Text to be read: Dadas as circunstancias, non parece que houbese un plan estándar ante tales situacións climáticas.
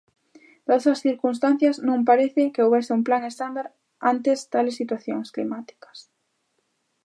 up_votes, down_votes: 0, 2